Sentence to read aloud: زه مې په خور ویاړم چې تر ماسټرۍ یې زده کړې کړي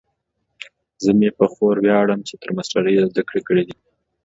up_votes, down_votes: 2, 0